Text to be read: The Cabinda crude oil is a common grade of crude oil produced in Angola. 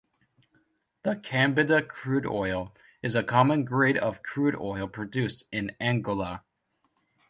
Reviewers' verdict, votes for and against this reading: rejected, 0, 2